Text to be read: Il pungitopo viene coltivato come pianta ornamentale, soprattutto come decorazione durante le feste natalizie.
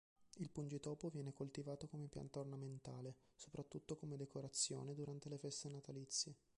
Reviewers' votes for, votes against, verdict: 1, 2, rejected